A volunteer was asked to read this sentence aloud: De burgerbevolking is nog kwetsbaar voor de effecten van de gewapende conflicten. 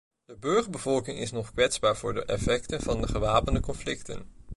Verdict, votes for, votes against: accepted, 2, 0